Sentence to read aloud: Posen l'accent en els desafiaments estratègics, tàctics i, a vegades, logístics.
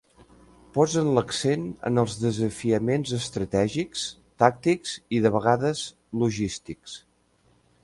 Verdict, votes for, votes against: rejected, 0, 2